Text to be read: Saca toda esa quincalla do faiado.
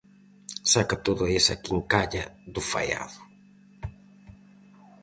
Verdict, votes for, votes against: accepted, 4, 0